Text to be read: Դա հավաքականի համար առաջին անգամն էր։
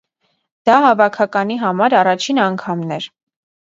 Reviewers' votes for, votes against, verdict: 2, 0, accepted